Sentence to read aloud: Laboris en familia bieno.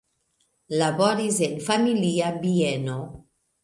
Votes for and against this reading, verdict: 2, 0, accepted